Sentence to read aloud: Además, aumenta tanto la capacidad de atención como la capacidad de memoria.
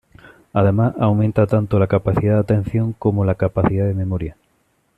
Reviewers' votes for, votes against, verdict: 2, 0, accepted